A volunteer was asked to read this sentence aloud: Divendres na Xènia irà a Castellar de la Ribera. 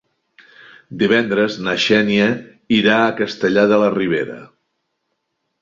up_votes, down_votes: 3, 0